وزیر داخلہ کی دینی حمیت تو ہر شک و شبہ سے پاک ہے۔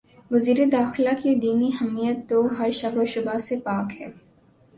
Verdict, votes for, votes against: accepted, 2, 0